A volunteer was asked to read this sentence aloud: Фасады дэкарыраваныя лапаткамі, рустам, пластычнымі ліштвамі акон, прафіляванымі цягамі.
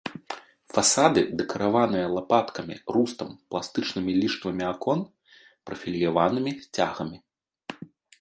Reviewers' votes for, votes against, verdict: 0, 2, rejected